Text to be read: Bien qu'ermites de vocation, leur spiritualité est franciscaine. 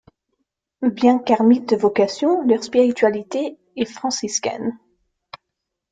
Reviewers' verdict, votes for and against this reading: rejected, 0, 2